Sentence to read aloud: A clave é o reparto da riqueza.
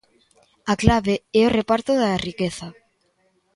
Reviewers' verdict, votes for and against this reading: accepted, 2, 0